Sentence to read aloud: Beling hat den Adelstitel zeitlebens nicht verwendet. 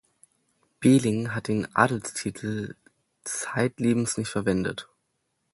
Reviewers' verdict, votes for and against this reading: accepted, 2, 0